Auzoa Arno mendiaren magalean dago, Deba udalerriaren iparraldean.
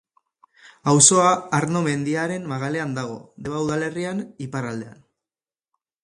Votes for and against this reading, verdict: 2, 2, rejected